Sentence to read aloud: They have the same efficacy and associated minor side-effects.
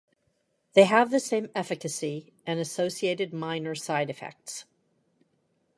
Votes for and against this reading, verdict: 0, 2, rejected